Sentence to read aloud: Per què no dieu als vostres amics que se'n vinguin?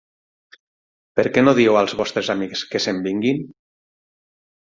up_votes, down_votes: 6, 3